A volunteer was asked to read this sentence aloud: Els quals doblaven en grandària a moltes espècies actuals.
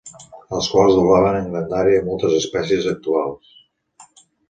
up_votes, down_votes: 2, 0